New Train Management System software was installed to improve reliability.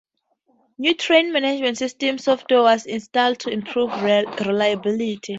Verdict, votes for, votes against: rejected, 0, 4